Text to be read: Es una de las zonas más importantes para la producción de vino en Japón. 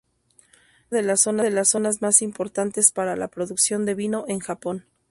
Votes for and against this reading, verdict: 0, 2, rejected